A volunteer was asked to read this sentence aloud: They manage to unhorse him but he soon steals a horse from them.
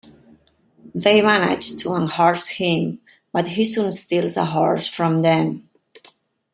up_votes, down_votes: 2, 0